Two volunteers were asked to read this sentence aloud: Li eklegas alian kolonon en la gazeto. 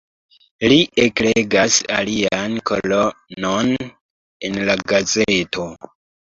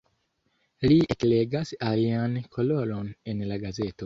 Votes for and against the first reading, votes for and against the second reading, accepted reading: 2, 0, 1, 2, first